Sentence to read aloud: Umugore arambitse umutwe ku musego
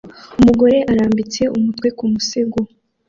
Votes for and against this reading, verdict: 2, 0, accepted